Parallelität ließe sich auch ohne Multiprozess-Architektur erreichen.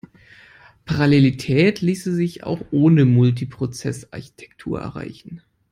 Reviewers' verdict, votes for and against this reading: accepted, 2, 0